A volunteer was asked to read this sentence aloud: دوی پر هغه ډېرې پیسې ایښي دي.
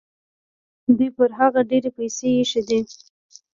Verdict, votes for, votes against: accepted, 3, 0